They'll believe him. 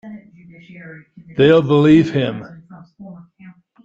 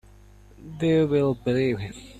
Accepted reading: first